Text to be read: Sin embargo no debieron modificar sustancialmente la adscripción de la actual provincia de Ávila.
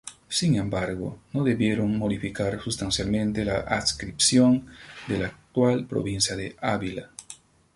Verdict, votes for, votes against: rejected, 0, 2